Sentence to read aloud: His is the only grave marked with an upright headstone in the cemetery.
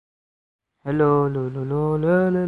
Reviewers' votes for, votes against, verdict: 0, 3, rejected